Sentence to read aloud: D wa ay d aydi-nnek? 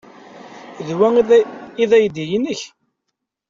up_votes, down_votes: 0, 2